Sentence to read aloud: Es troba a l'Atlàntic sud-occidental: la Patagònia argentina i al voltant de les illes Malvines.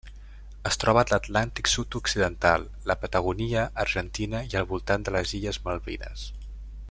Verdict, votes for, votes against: rejected, 0, 2